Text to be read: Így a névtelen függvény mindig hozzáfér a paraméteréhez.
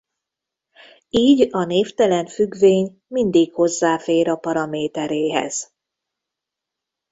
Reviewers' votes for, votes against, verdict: 2, 0, accepted